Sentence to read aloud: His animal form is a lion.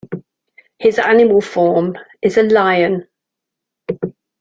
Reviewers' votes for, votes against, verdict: 2, 1, accepted